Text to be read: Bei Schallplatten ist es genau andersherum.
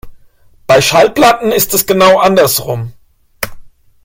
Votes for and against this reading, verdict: 1, 2, rejected